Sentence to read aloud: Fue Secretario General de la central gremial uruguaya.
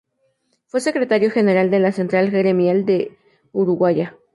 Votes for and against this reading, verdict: 0, 2, rejected